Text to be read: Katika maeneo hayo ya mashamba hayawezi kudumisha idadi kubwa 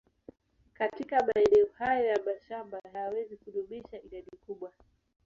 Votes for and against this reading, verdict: 0, 2, rejected